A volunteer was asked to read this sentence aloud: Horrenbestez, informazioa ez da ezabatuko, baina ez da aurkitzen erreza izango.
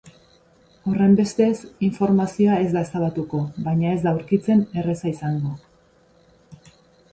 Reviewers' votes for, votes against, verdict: 2, 0, accepted